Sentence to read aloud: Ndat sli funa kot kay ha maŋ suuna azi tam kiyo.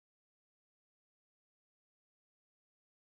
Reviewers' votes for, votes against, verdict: 1, 2, rejected